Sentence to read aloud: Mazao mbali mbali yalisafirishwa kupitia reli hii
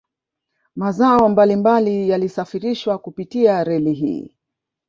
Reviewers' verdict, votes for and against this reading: rejected, 1, 2